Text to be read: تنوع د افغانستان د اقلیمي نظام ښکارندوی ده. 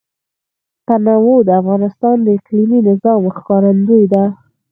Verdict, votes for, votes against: rejected, 2, 4